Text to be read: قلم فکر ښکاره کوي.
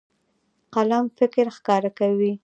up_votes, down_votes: 2, 0